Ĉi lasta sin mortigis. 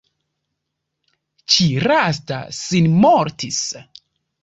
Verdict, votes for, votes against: rejected, 1, 2